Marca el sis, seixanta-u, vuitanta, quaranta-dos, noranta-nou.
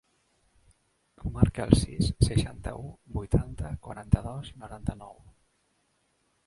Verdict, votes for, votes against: accepted, 2, 1